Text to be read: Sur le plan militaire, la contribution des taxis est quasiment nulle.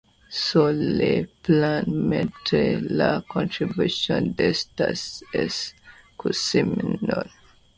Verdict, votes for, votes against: rejected, 1, 2